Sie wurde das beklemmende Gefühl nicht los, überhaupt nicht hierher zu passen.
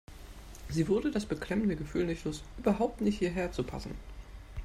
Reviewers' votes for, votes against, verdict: 1, 2, rejected